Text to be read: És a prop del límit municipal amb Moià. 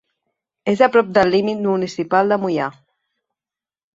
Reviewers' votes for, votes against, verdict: 0, 2, rejected